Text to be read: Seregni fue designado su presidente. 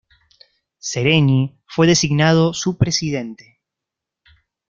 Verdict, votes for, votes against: accepted, 2, 0